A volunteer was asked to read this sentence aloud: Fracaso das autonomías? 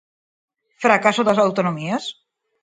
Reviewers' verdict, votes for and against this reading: accepted, 4, 0